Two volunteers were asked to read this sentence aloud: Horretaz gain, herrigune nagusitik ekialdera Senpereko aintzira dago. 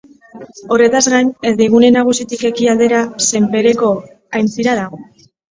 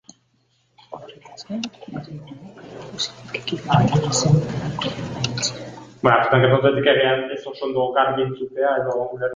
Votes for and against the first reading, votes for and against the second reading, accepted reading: 2, 0, 0, 2, first